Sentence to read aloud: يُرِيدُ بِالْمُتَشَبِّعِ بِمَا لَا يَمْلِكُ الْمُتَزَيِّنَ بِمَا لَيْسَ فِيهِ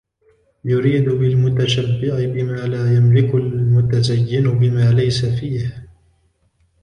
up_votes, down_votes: 1, 2